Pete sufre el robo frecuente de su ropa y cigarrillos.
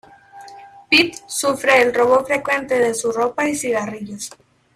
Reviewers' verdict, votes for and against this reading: rejected, 0, 2